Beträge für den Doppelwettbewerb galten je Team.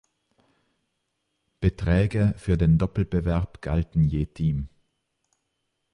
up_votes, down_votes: 1, 2